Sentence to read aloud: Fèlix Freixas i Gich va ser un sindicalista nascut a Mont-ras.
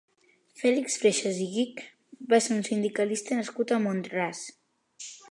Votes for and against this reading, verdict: 2, 0, accepted